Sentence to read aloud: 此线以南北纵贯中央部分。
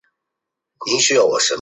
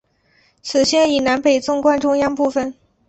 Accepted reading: second